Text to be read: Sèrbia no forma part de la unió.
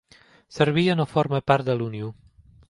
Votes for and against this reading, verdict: 0, 2, rejected